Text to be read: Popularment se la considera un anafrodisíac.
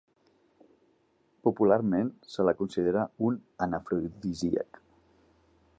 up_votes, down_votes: 3, 2